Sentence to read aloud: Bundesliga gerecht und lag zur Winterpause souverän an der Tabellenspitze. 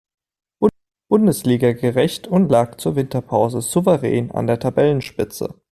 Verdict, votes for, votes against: accepted, 2, 1